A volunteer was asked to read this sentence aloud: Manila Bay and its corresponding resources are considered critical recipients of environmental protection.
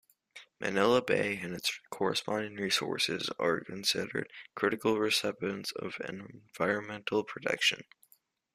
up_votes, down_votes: 2, 0